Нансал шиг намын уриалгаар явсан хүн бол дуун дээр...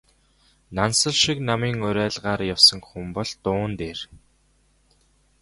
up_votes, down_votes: 2, 0